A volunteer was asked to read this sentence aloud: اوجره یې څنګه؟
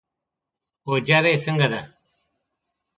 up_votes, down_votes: 1, 2